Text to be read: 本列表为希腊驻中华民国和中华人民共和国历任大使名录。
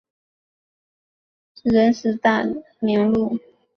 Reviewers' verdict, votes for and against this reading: rejected, 0, 2